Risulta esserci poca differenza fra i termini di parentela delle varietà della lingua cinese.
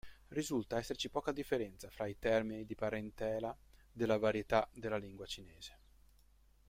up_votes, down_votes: 0, 2